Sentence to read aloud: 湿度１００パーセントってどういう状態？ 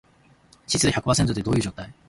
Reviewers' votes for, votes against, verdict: 0, 2, rejected